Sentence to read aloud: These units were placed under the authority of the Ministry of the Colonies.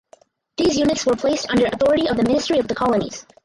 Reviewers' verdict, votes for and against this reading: rejected, 2, 4